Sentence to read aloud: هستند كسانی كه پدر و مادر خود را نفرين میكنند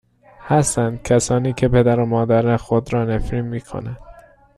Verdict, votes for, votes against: rejected, 1, 2